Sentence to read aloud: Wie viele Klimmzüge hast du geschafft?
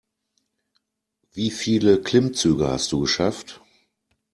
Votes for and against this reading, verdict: 2, 0, accepted